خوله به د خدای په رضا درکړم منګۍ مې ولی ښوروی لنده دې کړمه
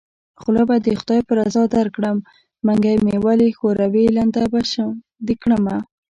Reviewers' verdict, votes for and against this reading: rejected, 1, 2